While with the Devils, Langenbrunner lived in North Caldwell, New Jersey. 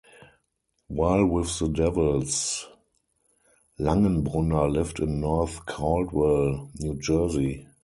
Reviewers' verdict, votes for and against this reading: rejected, 0, 2